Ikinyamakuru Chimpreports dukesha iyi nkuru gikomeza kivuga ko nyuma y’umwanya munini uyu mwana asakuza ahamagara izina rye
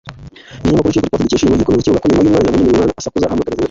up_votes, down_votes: 1, 2